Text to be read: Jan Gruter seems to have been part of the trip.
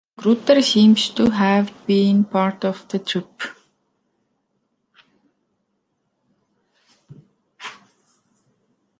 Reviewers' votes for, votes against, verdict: 0, 2, rejected